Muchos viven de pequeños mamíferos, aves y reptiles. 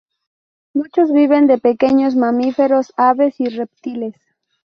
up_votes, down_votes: 2, 2